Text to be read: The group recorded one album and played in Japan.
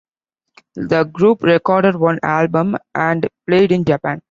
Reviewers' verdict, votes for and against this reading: accepted, 2, 0